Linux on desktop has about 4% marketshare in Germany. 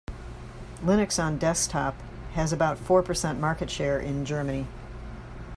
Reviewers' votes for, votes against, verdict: 0, 2, rejected